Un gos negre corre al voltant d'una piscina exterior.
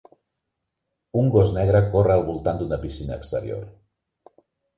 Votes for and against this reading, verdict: 4, 0, accepted